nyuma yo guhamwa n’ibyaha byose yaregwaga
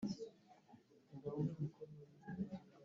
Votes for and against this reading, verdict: 0, 2, rejected